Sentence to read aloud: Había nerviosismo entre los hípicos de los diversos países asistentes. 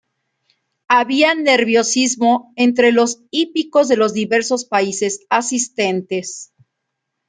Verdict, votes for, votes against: accepted, 2, 0